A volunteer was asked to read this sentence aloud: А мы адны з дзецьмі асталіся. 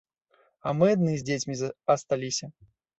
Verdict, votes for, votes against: rejected, 0, 2